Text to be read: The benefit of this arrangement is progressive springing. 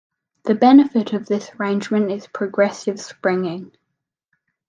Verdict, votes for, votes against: rejected, 0, 2